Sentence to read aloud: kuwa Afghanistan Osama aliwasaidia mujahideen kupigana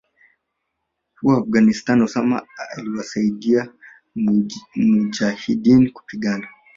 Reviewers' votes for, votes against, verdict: 3, 2, accepted